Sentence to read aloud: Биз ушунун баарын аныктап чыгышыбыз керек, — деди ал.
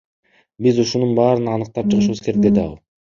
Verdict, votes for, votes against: rejected, 1, 2